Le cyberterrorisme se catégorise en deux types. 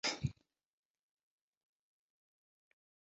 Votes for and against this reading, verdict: 0, 2, rejected